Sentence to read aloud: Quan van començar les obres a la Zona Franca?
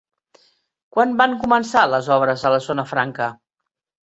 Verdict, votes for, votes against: rejected, 1, 2